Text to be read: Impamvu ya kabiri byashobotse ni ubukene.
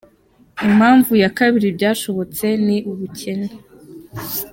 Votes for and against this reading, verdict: 2, 0, accepted